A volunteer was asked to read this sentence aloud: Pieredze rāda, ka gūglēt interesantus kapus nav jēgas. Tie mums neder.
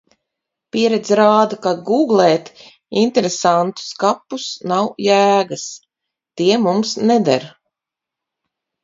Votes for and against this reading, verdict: 4, 2, accepted